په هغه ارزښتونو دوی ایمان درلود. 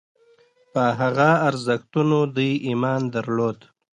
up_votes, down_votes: 2, 0